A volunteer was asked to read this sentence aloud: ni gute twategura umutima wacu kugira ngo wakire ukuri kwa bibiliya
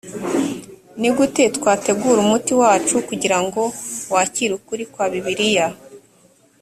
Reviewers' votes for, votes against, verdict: 0, 2, rejected